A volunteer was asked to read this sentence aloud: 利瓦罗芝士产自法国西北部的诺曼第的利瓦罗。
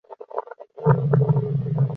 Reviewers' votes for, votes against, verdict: 0, 3, rejected